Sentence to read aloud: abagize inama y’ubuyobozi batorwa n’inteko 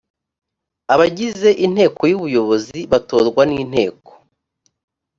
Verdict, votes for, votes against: rejected, 1, 2